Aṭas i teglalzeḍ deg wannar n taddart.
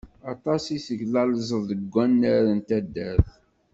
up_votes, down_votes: 2, 0